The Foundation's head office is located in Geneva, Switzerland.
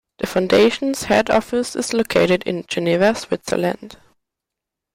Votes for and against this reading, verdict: 2, 0, accepted